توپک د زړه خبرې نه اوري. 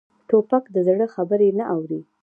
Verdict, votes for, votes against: rejected, 1, 2